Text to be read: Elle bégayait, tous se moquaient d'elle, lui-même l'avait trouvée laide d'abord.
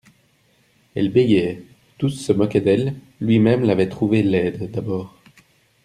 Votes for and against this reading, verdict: 0, 2, rejected